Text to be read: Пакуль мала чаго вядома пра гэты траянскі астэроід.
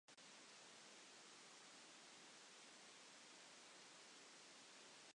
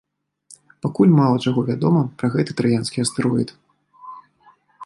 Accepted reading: second